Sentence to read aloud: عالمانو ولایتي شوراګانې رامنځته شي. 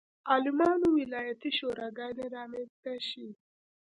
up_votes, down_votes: 2, 0